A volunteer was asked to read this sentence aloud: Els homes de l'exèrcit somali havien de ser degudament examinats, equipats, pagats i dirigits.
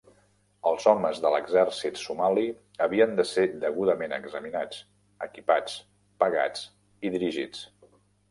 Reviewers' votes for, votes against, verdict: 2, 1, accepted